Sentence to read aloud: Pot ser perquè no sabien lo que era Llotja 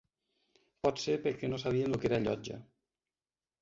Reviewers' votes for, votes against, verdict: 2, 0, accepted